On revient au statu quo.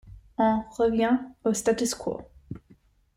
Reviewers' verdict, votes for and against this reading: accepted, 2, 0